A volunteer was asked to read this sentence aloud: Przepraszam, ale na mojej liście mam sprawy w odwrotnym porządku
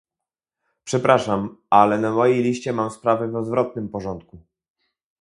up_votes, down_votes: 2, 0